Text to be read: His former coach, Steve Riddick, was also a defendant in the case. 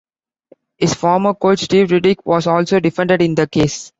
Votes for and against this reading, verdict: 2, 0, accepted